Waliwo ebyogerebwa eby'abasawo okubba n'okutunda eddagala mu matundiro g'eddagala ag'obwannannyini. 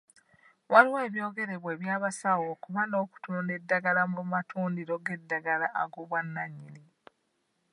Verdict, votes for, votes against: rejected, 1, 2